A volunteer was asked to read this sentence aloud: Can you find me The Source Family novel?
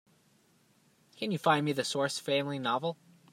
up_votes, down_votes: 2, 0